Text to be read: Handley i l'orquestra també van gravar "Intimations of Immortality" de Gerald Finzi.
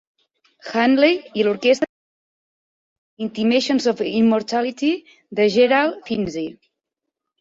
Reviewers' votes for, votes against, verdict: 0, 2, rejected